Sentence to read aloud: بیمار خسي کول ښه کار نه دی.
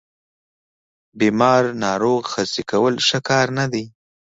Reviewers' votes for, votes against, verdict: 1, 2, rejected